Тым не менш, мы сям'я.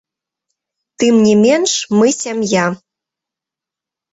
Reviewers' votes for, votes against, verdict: 1, 2, rejected